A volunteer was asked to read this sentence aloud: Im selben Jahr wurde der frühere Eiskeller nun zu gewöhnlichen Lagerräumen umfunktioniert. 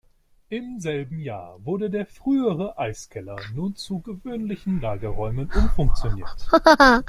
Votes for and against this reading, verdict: 2, 1, accepted